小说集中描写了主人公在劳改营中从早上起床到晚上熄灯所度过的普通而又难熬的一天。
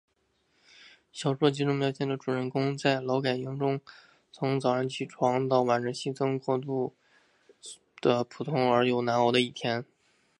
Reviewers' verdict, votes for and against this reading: accepted, 2, 0